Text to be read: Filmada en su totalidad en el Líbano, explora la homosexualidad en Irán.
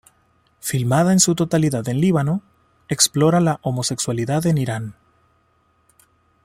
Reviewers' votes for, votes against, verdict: 1, 2, rejected